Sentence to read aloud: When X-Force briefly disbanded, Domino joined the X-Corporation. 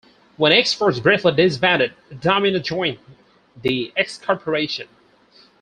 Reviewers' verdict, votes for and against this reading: accepted, 4, 2